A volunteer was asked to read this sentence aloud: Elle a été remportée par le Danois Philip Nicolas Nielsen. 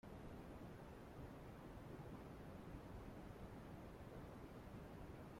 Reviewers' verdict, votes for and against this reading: rejected, 0, 2